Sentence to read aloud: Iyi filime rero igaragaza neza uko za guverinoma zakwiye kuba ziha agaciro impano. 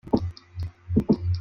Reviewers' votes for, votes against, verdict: 0, 2, rejected